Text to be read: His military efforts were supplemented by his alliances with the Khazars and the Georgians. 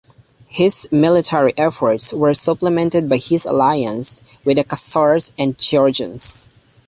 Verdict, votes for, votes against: rejected, 0, 2